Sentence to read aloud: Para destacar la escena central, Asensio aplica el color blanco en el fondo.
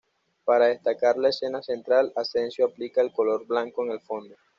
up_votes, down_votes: 2, 0